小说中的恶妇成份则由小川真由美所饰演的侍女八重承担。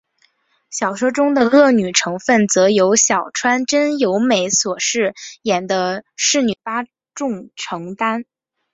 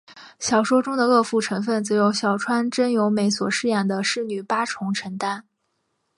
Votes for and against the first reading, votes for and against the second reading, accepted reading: 0, 3, 2, 1, second